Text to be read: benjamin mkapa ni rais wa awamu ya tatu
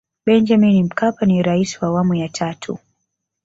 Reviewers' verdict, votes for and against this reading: accepted, 3, 0